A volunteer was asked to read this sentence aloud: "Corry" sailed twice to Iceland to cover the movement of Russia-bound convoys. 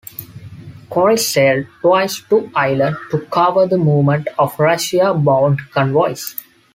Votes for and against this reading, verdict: 1, 2, rejected